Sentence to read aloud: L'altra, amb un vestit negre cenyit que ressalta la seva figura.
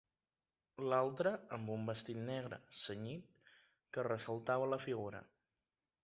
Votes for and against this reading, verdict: 0, 2, rejected